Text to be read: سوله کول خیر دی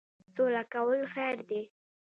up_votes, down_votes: 2, 0